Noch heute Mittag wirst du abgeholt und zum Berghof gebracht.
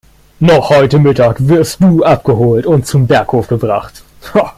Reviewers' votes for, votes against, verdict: 1, 3, rejected